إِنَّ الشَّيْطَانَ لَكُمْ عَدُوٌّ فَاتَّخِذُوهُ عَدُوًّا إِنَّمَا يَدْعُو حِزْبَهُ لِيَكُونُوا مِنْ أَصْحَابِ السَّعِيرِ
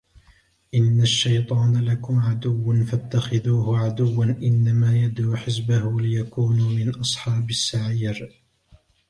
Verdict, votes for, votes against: accepted, 2, 1